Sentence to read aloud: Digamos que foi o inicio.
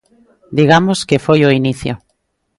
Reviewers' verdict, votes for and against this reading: accepted, 2, 0